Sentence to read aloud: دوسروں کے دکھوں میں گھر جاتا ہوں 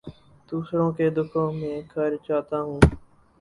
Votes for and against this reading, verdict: 2, 0, accepted